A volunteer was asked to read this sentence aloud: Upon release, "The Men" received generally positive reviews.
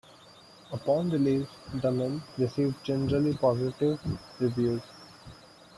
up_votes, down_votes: 1, 2